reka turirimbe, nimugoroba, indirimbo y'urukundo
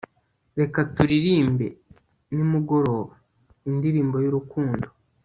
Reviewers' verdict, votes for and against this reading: rejected, 1, 2